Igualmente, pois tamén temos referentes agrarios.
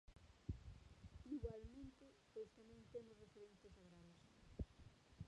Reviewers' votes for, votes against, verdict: 0, 2, rejected